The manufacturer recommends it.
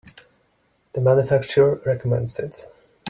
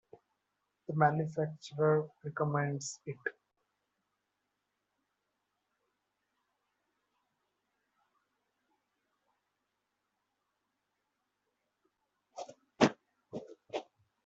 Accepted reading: first